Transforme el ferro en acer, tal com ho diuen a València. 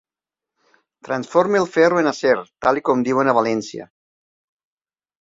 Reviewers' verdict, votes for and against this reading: rejected, 1, 2